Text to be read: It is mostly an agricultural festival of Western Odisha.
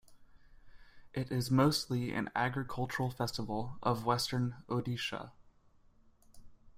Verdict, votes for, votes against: accepted, 2, 0